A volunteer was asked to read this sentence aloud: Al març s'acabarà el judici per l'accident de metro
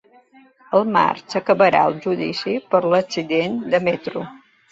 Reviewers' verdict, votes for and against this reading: accepted, 2, 0